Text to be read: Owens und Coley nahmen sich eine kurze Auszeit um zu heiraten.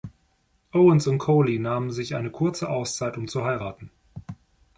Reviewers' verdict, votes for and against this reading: accepted, 2, 0